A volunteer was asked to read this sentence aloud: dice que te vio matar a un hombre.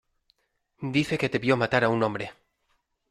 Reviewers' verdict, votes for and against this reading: accepted, 2, 0